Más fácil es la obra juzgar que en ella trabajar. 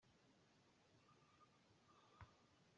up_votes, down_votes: 0, 2